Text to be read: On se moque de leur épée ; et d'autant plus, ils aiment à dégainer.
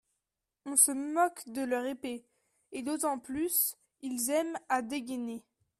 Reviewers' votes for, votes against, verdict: 2, 0, accepted